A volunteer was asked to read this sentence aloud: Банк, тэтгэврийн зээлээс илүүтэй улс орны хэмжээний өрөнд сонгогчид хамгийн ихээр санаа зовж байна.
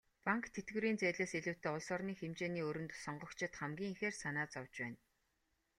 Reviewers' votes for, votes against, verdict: 2, 0, accepted